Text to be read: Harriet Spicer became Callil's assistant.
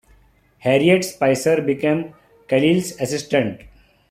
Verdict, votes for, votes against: accepted, 2, 0